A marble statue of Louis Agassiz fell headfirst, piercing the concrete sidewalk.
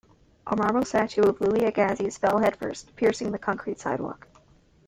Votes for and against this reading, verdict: 2, 1, accepted